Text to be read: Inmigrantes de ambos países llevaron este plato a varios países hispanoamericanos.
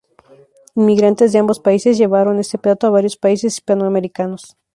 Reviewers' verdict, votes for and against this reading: accepted, 2, 0